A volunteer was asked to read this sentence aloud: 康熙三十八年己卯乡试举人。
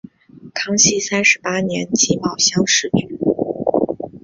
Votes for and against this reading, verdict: 2, 0, accepted